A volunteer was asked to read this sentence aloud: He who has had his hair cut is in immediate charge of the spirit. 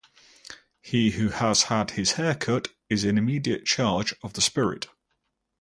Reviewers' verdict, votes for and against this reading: accepted, 4, 0